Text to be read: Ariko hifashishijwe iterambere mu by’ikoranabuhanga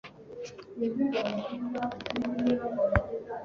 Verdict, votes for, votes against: rejected, 0, 2